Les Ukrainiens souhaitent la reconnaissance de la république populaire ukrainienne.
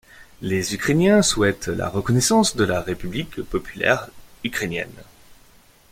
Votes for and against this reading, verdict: 2, 0, accepted